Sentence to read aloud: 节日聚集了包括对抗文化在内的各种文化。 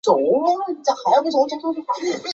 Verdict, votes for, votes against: rejected, 1, 3